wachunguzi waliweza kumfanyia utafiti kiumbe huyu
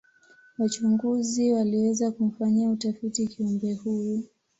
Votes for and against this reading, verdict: 2, 1, accepted